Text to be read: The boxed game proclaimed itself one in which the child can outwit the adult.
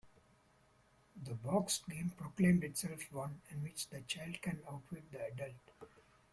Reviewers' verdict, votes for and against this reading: rejected, 0, 2